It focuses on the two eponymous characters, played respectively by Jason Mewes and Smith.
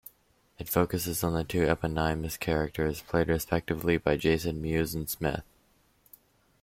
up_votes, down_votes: 0, 2